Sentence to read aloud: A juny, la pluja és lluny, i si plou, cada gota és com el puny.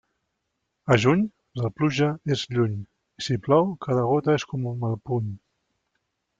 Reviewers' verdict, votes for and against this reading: rejected, 0, 2